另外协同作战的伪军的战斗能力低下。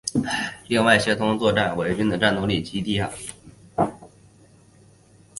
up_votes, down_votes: 1, 2